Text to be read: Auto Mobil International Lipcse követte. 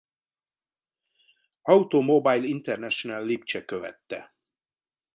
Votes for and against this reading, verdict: 1, 2, rejected